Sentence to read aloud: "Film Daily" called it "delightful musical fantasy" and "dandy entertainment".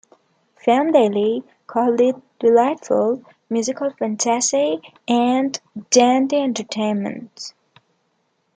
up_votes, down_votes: 2, 1